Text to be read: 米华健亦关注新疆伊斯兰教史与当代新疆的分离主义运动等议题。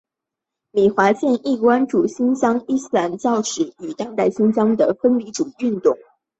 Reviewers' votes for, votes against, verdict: 0, 2, rejected